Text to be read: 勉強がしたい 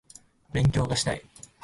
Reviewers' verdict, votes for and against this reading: accepted, 2, 0